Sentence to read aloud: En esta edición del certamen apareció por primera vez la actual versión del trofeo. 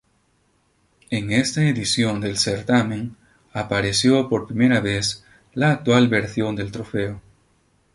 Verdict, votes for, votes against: rejected, 2, 2